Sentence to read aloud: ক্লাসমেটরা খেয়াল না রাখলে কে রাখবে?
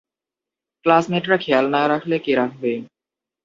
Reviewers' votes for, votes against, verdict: 0, 2, rejected